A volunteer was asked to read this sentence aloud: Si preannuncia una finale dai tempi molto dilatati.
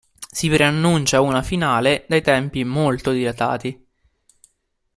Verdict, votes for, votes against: accepted, 3, 0